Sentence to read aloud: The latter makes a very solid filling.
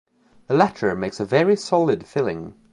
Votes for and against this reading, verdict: 2, 0, accepted